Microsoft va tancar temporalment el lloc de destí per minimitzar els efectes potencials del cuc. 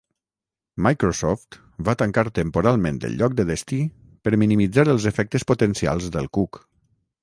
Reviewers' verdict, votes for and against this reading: rejected, 0, 3